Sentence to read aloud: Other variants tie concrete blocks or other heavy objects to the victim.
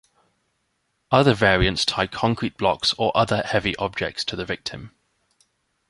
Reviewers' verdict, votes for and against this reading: accepted, 3, 0